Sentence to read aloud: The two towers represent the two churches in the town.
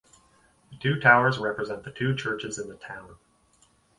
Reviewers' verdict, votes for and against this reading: accepted, 4, 0